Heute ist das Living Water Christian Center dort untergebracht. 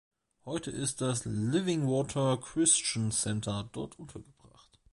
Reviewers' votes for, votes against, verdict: 1, 2, rejected